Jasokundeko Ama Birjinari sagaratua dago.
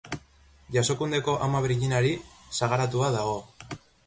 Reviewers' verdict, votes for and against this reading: accepted, 2, 0